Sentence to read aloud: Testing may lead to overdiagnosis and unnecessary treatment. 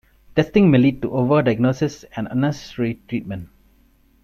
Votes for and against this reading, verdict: 0, 2, rejected